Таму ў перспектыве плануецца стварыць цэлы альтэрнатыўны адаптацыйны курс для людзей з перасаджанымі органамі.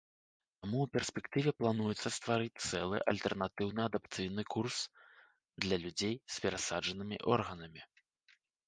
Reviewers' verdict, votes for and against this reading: accepted, 2, 0